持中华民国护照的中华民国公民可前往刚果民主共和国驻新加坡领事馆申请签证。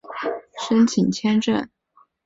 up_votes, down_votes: 0, 2